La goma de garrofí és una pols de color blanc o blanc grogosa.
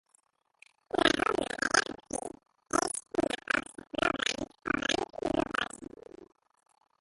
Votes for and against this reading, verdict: 0, 2, rejected